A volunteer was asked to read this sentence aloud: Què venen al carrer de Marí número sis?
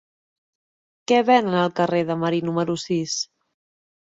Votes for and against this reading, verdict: 2, 0, accepted